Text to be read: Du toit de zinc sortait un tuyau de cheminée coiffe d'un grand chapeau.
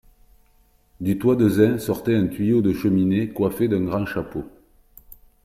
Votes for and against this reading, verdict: 2, 0, accepted